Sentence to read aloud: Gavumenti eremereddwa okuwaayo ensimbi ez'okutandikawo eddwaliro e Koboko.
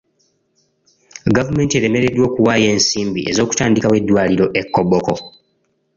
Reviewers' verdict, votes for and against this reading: accepted, 2, 0